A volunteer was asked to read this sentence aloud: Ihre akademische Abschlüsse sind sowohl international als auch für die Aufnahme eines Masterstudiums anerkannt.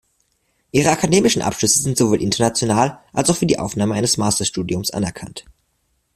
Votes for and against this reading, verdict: 0, 2, rejected